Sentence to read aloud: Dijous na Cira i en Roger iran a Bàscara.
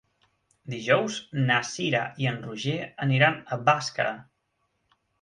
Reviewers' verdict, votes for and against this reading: rejected, 0, 2